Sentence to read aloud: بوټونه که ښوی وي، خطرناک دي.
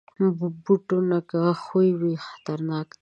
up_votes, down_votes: 0, 2